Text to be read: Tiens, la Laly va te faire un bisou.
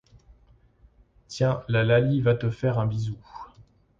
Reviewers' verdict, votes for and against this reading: accepted, 2, 0